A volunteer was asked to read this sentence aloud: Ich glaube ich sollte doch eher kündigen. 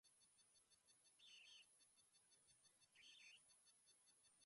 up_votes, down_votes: 0, 2